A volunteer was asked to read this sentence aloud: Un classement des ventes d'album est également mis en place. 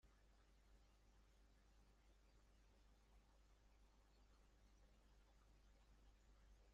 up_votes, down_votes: 0, 2